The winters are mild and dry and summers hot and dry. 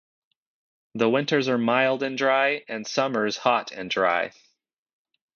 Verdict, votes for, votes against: accepted, 2, 0